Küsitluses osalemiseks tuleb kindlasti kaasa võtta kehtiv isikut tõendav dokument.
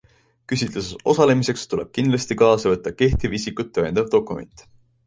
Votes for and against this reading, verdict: 2, 0, accepted